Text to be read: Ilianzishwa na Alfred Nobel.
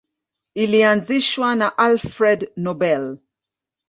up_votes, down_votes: 2, 0